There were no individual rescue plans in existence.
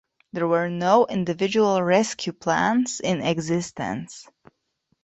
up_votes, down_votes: 2, 0